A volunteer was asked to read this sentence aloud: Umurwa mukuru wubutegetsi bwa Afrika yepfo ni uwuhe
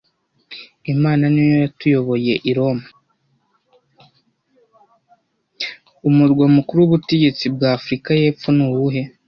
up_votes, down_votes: 1, 2